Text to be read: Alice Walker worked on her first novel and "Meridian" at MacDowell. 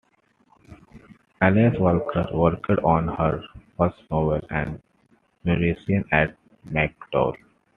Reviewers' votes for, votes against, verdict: 2, 3, rejected